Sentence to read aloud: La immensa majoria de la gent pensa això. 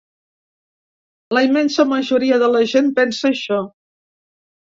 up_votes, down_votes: 3, 0